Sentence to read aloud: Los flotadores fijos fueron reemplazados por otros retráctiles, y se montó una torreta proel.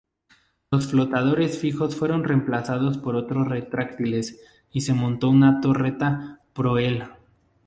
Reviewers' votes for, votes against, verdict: 0, 2, rejected